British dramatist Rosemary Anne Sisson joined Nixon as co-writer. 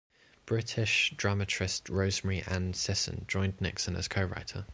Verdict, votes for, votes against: rejected, 1, 2